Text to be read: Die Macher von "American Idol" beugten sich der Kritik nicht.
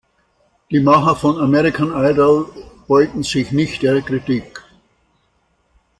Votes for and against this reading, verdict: 0, 2, rejected